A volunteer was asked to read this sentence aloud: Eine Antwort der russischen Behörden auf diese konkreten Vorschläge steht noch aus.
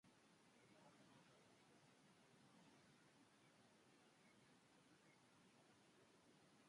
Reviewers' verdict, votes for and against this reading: rejected, 0, 2